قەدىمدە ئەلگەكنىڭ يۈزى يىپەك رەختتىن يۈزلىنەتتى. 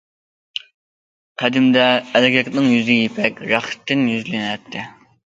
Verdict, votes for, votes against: accepted, 2, 0